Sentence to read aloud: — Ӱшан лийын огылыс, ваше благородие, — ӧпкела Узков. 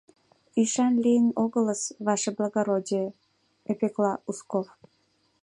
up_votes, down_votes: 0, 4